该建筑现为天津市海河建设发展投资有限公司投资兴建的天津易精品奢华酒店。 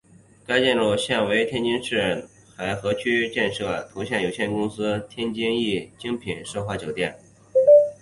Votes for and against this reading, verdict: 2, 2, rejected